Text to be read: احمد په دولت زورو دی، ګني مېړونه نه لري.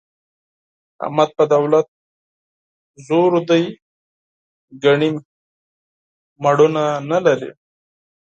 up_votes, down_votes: 2, 4